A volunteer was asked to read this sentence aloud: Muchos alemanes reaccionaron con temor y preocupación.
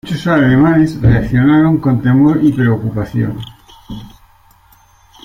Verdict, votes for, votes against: rejected, 1, 2